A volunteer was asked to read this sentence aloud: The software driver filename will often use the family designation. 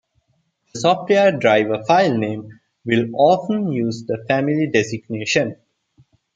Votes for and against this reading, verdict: 0, 2, rejected